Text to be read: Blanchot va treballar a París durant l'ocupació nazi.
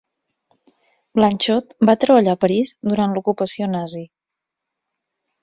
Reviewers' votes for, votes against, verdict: 4, 0, accepted